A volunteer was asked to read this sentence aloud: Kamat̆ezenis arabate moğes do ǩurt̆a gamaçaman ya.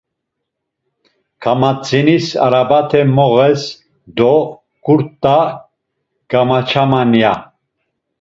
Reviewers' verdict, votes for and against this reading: rejected, 1, 2